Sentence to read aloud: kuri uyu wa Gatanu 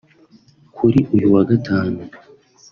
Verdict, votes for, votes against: accepted, 2, 0